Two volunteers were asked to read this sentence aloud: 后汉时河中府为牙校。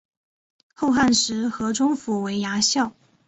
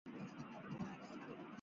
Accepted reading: first